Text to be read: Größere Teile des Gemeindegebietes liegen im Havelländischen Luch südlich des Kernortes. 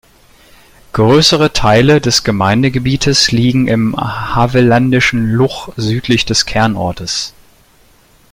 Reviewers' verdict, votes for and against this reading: accepted, 2, 0